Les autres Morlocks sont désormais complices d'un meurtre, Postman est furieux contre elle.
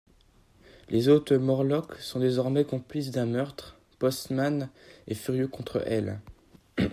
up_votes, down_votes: 2, 0